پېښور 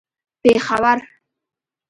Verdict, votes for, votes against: rejected, 1, 2